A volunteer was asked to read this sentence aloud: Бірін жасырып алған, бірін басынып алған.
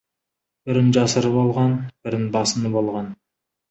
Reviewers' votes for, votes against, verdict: 2, 0, accepted